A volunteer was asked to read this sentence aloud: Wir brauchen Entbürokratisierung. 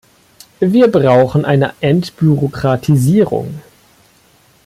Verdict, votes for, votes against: rejected, 0, 2